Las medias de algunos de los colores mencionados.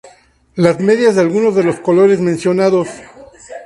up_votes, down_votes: 2, 0